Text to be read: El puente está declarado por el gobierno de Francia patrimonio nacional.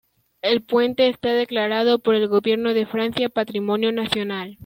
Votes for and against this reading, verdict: 2, 1, accepted